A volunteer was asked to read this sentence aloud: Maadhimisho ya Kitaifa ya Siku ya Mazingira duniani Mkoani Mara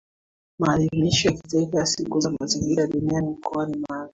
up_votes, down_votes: 1, 2